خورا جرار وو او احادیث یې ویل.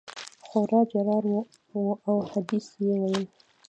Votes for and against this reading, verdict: 1, 2, rejected